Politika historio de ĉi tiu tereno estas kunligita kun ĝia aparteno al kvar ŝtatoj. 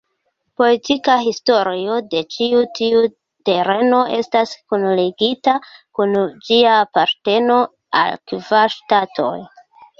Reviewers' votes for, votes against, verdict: 0, 2, rejected